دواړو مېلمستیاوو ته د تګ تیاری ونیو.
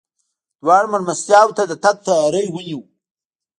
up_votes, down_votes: 0, 2